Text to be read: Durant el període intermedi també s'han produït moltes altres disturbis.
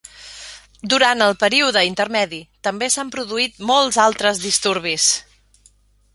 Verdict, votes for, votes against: accepted, 2, 1